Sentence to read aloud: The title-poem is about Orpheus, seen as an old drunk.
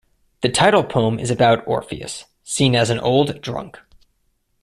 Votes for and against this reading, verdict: 2, 0, accepted